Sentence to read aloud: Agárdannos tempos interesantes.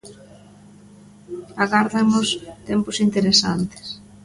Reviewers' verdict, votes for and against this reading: rejected, 1, 2